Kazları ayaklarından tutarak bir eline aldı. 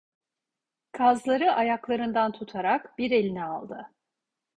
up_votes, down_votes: 2, 0